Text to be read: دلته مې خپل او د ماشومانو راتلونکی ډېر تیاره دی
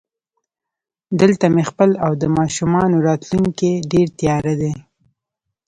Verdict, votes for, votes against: accepted, 2, 0